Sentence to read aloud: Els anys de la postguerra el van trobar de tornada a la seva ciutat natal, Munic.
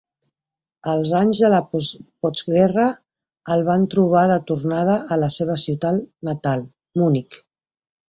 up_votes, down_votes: 1, 3